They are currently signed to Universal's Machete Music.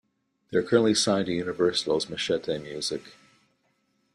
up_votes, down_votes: 2, 0